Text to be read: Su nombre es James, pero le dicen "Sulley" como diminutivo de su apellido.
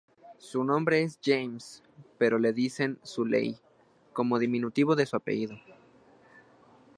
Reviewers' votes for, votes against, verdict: 2, 0, accepted